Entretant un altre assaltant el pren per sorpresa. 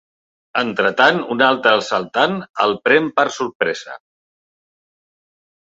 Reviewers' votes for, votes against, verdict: 3, 0, accepted